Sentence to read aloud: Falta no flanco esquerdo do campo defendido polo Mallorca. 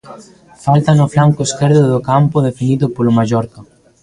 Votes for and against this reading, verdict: 1, 2, rejected